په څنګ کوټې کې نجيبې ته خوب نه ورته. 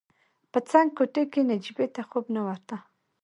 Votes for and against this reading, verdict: 0, 2, rejected